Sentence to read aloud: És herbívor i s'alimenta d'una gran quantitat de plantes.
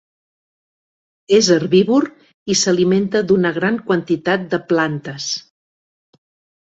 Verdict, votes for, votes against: accepted, 3, 0